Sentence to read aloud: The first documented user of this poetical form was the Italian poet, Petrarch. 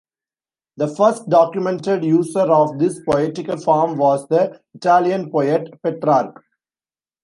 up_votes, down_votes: 2, 1